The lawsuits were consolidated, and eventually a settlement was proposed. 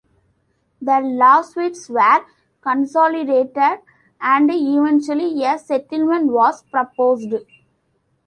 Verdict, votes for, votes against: accepted, 2, 0